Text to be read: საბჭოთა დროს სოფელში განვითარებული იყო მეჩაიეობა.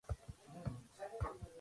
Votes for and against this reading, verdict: 0, 2, rejected